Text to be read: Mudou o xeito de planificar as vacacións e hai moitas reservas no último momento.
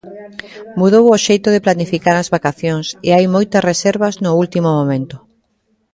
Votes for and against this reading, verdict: 1, 2, rejected